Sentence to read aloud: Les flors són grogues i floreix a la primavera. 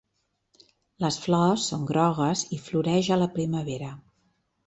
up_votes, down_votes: 3, 0